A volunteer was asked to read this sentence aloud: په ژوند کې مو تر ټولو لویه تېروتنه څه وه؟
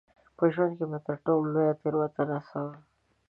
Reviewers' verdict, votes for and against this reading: accepted, 4, 0